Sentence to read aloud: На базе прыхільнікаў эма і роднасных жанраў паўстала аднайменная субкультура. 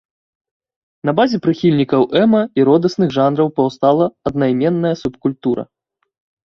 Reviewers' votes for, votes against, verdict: 1, 2, rejected